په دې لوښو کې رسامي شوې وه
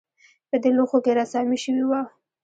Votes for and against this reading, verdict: 0, 2, rejected